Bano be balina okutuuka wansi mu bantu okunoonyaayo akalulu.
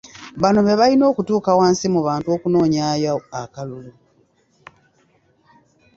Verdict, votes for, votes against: rejected, 0, 2